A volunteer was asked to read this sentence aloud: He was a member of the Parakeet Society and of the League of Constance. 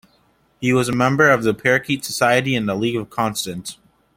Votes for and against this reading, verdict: 1, 2, rejected